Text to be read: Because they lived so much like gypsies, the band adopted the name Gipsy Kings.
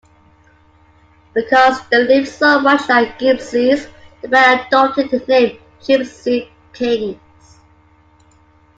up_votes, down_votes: 2, 1